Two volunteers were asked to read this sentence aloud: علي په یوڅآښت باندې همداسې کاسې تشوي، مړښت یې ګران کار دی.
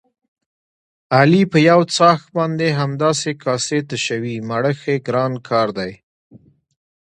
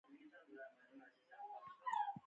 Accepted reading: first